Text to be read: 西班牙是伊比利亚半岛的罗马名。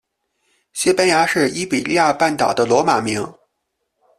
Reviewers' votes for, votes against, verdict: 2, 0, accepted